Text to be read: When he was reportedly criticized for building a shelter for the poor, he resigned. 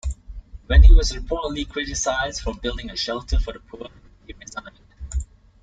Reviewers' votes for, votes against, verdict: 2, 1, accepted